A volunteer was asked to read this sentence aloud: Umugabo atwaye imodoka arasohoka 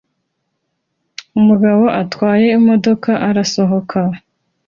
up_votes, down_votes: 2, 0